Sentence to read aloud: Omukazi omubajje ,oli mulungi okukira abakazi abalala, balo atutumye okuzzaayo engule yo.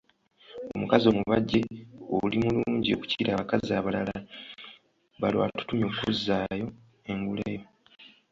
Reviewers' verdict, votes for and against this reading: accepted, 2, 0